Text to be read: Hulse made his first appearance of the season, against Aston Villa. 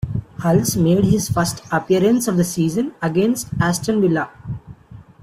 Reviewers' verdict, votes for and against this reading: accepted, 2, 0